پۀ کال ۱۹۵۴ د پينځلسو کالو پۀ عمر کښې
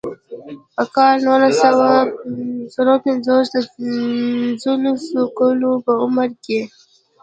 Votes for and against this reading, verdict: 0, 2, rejected